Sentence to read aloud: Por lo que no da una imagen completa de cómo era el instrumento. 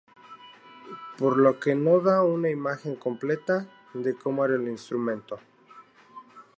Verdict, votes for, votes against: rejected, 0, 2